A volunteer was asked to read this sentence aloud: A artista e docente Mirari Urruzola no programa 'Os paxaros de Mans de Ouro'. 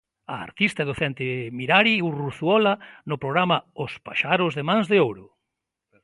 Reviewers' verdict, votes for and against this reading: rejected, 0, 2